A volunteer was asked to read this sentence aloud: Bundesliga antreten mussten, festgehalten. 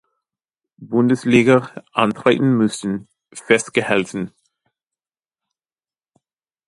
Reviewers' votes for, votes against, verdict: 0, 2, rejected